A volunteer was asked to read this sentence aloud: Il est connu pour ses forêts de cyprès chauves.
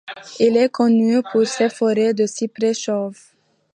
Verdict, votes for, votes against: accepted, 2, 0